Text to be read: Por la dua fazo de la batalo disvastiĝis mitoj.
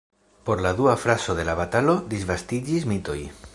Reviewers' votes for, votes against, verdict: 1, 2, rejected